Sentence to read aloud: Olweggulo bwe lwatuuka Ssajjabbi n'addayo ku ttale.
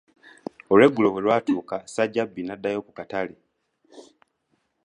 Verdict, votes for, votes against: rejected, 1, 2